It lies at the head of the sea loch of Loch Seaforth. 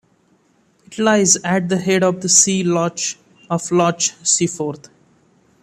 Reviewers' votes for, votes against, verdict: 2, 1, accepted